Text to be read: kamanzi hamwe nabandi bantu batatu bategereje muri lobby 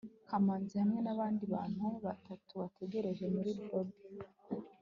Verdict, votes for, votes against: accepted, 2, 0